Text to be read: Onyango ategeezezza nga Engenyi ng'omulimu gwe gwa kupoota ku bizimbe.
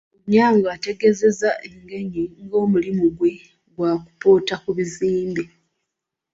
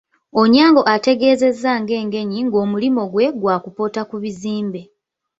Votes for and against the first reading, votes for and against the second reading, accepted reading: 1, 2, 2, 0, second